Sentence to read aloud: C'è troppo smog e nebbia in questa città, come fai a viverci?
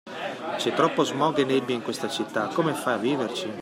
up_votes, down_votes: 2, 0